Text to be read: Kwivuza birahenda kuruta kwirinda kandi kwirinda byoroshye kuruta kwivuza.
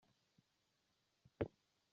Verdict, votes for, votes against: rejected, 0, 2